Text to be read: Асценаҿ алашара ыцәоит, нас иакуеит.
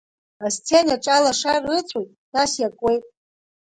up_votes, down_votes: 2, 1